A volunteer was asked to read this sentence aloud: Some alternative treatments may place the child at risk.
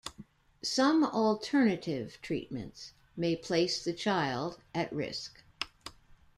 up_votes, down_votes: 1, 2